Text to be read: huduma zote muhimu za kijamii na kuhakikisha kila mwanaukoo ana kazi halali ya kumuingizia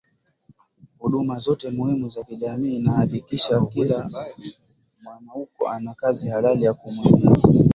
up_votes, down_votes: 6, 2